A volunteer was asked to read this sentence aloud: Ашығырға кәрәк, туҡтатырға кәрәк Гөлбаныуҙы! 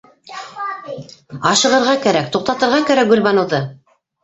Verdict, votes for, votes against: rejected, 1, 2